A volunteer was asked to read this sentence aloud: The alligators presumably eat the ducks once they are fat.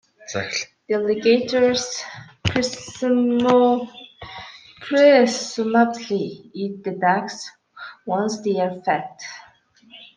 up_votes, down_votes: 0, 3